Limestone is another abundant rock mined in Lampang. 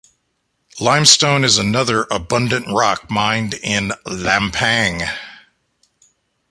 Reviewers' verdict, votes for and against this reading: accepted, 2, 0